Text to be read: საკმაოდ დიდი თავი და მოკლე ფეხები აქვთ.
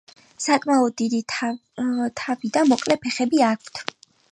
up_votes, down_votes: 4, 1